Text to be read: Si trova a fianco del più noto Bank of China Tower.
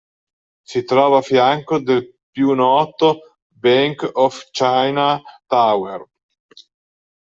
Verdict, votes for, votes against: rejected, 1, 2